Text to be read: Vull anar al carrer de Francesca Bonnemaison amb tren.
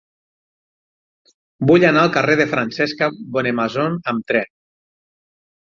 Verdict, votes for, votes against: accepted, 6, 3